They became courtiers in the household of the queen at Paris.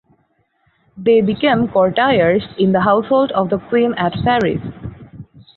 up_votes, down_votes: 2, 2